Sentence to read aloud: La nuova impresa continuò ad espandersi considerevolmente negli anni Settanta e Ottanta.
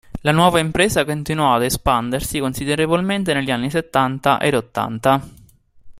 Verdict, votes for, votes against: accepted, 2, 0